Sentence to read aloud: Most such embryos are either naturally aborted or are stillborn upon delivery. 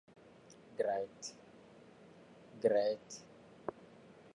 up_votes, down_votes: 0, 2